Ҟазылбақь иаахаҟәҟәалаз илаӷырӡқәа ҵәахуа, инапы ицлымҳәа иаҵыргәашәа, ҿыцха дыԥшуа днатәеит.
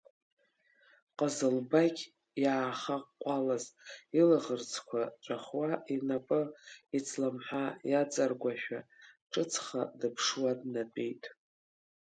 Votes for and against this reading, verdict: 1, 2, rejected